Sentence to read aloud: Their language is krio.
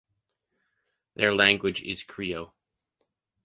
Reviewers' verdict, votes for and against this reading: accepted, 2, 0